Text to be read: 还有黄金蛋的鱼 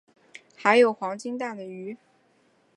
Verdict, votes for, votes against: accepted, 3, 1